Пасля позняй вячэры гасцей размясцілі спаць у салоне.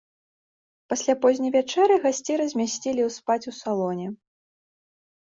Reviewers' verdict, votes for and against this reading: rejected, 1, 2